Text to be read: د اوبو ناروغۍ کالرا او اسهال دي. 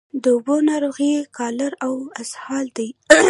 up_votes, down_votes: 1, 2